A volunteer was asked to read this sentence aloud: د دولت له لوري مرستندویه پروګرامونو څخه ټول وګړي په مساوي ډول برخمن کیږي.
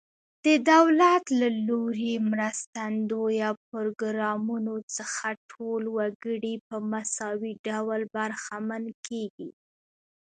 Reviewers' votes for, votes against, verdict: 1, 2, rejected